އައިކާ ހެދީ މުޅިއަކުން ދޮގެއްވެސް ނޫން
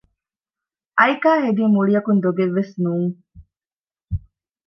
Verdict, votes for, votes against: accepted, 2, 0